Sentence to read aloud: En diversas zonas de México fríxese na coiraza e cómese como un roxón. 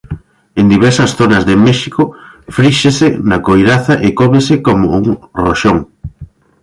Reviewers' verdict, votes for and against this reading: rejected, 1, 2